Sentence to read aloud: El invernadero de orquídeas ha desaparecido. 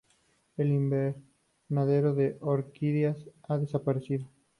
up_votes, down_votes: 8, 0